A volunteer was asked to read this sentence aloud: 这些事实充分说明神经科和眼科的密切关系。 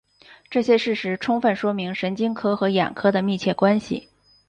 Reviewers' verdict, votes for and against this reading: accepted, 4, 0